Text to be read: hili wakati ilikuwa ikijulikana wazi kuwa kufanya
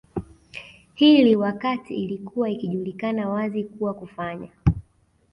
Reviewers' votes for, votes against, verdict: 2, 0, accepted